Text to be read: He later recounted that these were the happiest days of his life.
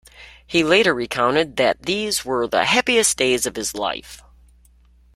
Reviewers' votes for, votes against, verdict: 3, 0, accepted